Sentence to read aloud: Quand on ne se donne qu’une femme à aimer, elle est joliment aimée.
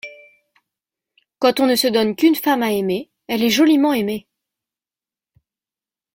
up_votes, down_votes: 2, 0